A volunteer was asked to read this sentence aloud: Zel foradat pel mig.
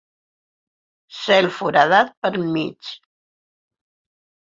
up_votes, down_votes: 4, 2